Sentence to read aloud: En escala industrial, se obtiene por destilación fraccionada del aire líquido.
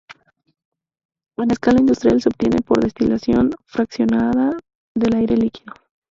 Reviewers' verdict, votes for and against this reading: accepted, 4, 2